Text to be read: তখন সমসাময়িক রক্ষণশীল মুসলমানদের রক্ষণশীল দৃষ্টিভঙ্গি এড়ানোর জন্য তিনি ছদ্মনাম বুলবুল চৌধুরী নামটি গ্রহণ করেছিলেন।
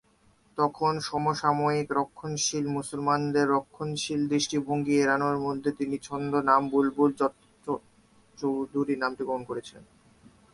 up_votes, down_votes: 0, 2